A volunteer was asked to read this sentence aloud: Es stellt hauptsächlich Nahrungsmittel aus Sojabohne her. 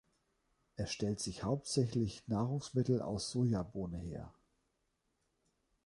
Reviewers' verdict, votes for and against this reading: rejected, 1, 2